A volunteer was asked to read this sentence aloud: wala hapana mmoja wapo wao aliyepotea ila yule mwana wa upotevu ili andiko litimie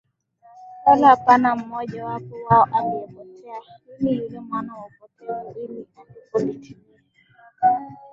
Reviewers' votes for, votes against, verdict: 2, 1, accepted